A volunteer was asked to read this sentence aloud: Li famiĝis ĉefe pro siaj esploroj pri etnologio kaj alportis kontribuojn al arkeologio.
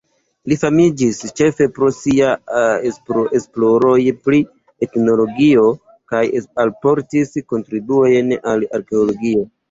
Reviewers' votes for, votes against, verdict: 3, 0, accepted